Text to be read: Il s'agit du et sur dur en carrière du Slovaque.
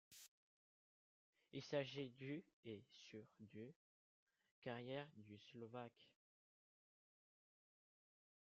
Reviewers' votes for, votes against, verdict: 0, 2, rejected